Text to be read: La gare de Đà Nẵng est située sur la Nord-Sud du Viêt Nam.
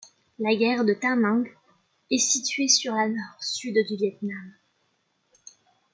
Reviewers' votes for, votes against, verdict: 2, 1, accepted